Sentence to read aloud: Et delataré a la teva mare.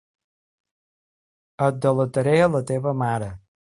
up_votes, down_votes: 2, 0